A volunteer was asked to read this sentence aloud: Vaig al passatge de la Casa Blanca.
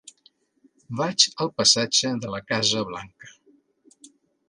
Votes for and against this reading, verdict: 2, 0, accepted